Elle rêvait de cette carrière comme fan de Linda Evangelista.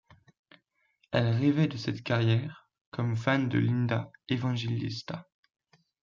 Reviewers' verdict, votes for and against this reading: accepted, 2, 0